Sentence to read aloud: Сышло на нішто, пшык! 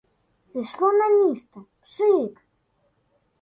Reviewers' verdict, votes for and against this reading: rejected, 1, 2